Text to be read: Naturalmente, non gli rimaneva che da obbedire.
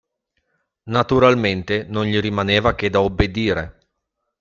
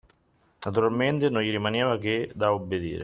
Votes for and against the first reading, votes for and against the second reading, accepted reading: 2, 0, 1, 2, first